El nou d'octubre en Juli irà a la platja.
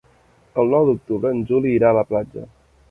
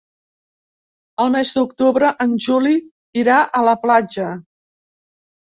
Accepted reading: first